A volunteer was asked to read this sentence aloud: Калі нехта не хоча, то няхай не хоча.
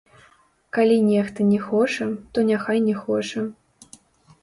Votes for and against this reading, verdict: 2, 0, accepted